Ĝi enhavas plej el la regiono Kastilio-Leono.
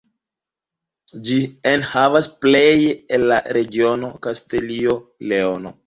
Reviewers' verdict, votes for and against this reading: accepted, 2, 0